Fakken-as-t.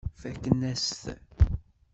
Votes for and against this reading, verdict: 1, 2, rejected